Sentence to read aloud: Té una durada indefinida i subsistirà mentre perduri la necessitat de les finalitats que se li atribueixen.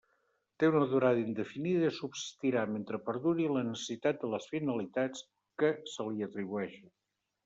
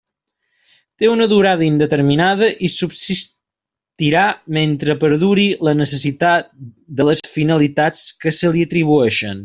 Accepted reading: first